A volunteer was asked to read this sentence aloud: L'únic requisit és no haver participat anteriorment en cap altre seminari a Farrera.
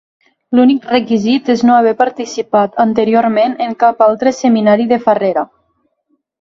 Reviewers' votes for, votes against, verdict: 0, 3, rejected